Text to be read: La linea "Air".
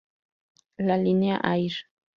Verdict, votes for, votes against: accepted, 4, 0